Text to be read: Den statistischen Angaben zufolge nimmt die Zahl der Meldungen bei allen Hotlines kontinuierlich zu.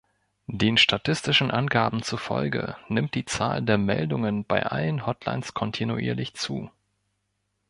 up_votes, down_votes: 2, 0